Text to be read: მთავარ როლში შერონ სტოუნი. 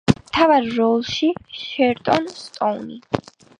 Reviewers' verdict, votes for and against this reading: rejected, 0, 2